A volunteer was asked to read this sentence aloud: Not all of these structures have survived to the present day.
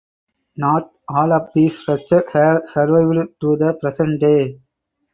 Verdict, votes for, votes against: rejected, 0, 4